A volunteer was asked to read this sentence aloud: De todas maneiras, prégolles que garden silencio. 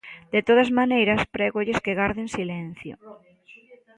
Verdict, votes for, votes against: accepted, 2, 0